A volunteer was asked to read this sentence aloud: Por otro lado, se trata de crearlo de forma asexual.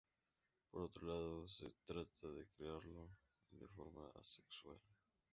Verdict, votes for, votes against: rejected, 0, 2